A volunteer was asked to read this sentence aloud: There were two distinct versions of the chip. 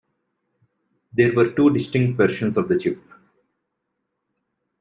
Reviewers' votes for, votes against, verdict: 2, 0, accepted